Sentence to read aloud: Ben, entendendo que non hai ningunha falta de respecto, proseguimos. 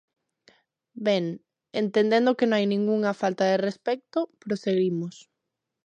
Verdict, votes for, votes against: rejected, 0, 2